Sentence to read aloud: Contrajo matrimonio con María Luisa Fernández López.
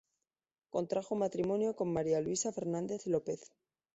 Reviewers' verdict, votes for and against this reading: accepted, 2, 0